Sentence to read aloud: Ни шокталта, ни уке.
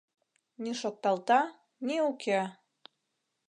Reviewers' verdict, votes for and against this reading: accepted, 2, 0